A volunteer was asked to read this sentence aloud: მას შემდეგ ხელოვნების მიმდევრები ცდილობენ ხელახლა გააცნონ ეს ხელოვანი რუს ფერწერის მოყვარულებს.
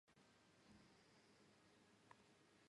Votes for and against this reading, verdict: 0, 2, rejected